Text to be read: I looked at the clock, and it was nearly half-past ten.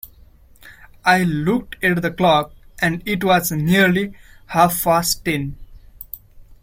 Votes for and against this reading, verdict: 0, 2, rejected